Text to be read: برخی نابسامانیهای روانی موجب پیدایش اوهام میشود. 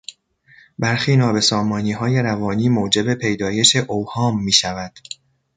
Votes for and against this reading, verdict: 2, 0, accepted